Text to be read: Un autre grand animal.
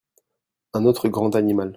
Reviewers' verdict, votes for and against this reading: accepted, 2, 0